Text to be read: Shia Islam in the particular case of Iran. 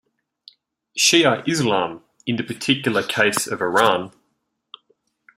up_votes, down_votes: 2, 0